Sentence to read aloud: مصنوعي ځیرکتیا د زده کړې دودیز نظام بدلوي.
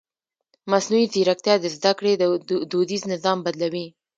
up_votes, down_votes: 0, 2